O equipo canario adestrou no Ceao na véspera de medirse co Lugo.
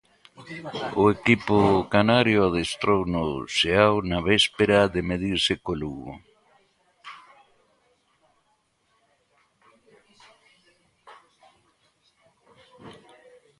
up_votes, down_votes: 2, 1